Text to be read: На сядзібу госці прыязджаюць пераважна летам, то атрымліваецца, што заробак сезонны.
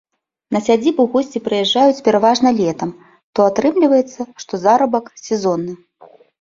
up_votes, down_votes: 0, 2